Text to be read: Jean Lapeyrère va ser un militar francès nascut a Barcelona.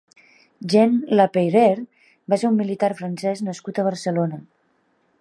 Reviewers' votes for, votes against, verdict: 3, 0, accepted